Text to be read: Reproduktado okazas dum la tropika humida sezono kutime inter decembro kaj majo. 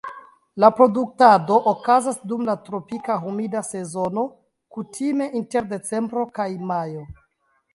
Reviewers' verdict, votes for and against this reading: accepted, 2, 0